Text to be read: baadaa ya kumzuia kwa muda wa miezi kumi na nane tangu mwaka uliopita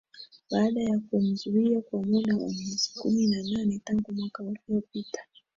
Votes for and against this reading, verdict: 2, 0, accepted